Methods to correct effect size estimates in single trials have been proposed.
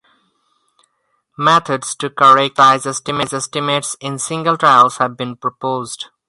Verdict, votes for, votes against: rejected, 0, 4